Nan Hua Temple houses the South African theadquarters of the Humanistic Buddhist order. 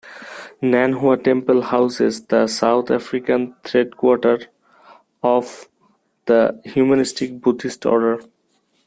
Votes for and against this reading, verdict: 1, 2, rejected